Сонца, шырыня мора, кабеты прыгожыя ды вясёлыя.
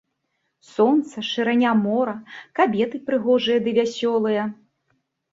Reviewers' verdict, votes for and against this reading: accepted, 2, 0